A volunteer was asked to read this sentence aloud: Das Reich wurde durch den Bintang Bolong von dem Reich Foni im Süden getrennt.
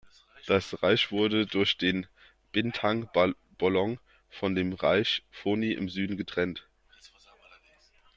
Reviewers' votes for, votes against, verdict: 1, 2, rejected